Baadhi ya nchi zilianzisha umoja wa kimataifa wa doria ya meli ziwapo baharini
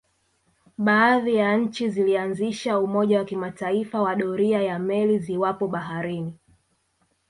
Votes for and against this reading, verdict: 1, 2, rejected